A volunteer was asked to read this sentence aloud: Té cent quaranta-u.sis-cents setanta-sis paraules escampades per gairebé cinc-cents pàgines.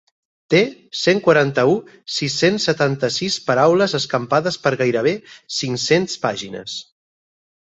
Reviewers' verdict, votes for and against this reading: accepted, 4, 0